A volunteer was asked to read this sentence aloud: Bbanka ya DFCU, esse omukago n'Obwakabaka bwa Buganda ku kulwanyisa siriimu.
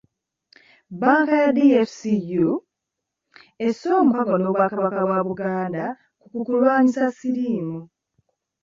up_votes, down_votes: 1, 2